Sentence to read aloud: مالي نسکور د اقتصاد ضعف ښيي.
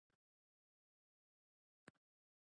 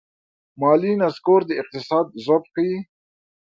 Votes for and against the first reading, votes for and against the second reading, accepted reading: 1, 2, 2, 0, second